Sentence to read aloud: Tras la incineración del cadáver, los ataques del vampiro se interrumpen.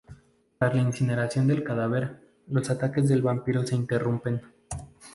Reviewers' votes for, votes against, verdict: 2, 0, accepted